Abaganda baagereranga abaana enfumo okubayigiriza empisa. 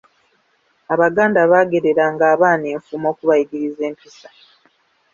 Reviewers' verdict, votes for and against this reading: accepted, 2, 0